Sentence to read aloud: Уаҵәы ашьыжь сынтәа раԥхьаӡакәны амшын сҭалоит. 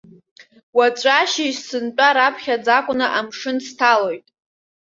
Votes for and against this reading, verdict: 2, 1, accepted